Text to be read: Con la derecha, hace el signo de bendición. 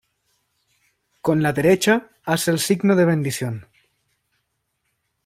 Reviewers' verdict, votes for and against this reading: accepted, 2, 0